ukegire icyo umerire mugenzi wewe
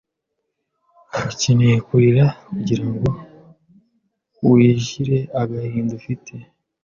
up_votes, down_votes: 0, 2